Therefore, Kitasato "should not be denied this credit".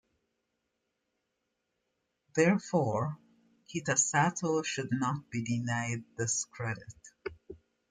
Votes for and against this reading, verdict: 2, 0, accepted